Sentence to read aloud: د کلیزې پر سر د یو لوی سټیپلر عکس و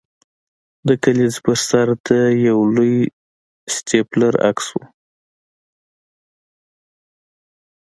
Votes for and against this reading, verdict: 2, 0, accepted